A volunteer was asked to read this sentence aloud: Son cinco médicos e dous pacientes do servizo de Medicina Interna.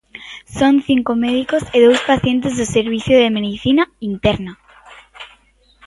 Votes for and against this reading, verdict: 0, 2, rejected